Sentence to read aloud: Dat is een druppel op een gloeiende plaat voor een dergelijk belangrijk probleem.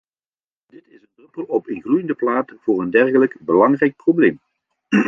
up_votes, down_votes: 0, 2